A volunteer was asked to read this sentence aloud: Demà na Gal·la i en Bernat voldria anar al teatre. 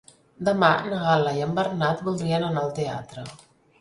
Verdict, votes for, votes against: rejected, 0, 2